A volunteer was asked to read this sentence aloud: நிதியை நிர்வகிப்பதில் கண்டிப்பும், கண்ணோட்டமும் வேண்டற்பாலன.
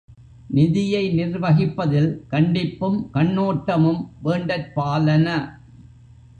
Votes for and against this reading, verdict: 2, 0, accepted